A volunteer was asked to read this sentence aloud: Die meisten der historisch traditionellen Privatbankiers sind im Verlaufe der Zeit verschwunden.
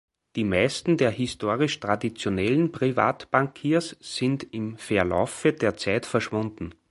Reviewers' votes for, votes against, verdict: 0, 2, rejected